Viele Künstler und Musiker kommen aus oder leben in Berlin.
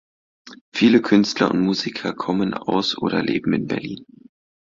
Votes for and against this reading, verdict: 2, 0, accepted